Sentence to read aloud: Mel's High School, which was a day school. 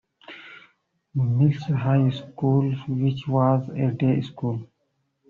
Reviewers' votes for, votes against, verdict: 2, 1, accepted